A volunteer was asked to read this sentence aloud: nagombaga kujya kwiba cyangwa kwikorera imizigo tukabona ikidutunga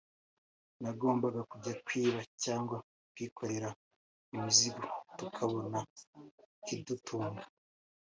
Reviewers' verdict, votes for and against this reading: accepted, 2, 0